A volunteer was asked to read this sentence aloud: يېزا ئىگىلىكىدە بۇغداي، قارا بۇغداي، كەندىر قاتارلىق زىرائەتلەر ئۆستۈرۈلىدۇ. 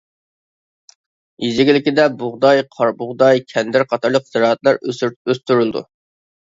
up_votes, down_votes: 0, 2